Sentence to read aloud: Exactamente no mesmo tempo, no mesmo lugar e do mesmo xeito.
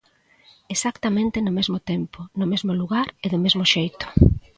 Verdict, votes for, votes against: accepted, 2, 0